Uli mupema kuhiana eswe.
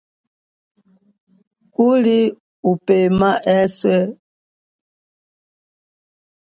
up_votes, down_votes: 0, 2